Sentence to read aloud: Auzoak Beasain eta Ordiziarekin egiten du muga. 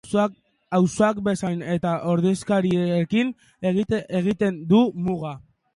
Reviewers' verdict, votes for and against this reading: rejected, 0, 4